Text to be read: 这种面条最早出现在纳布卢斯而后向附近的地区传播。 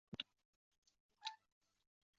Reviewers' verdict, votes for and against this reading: rejected, 1, 2